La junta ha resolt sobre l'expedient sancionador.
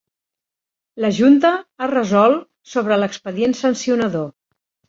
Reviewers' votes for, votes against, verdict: 2, 0, accepted